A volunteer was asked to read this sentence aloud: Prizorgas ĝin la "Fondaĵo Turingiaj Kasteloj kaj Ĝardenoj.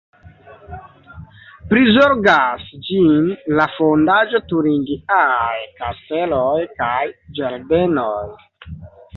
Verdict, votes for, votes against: accepted, 2, 0